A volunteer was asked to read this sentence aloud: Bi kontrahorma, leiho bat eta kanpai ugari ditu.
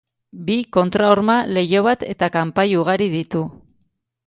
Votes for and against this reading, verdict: 2, 0, accepted